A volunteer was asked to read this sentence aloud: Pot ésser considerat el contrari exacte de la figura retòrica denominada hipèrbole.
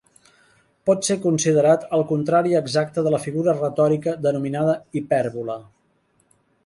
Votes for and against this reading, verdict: 0, 2, rejected